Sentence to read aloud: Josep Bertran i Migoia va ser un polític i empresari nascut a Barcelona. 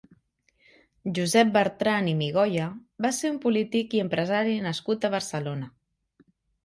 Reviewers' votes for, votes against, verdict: 3, 0, accepted